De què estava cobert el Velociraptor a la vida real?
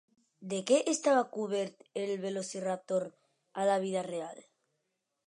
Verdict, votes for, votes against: accepted, 3, 0